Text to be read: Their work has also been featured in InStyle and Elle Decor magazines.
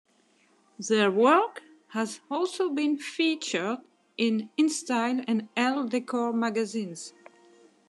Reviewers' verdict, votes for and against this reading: accepted, 2, 1